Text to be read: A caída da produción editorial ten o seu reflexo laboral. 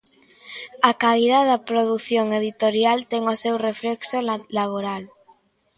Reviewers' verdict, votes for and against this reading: rejected, 0, 2